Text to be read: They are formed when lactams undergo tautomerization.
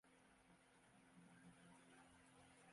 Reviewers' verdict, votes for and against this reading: rejected, 0, 2